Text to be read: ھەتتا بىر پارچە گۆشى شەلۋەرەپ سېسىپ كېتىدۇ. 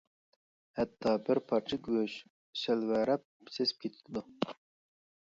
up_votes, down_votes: 0, 2